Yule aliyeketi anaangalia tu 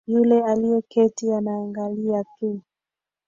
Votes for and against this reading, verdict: 1, 2, rejected